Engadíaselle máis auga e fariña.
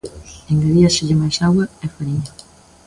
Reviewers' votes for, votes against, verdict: 2, 1, accepted